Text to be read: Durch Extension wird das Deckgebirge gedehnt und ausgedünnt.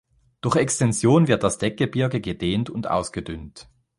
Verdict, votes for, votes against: rejected, 1, 2